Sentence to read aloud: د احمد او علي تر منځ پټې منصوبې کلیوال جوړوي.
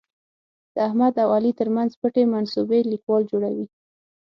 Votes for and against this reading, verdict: 0, 6, rejected